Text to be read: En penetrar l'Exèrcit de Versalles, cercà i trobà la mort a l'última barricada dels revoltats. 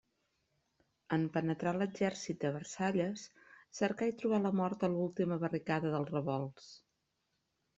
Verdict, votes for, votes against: rejected, 1, 2